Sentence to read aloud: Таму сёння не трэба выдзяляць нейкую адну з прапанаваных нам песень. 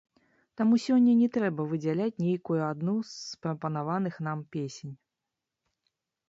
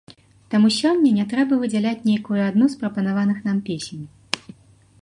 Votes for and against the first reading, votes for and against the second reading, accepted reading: 0, 2, 2, 1, second